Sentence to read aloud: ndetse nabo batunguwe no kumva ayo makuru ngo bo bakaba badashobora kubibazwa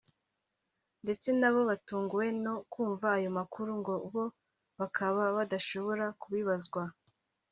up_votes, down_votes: 3, 0